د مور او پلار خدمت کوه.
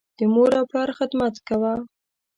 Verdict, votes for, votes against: accepted, 2, 0